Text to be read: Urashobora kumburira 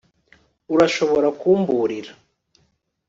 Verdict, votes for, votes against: accepted, 2, 0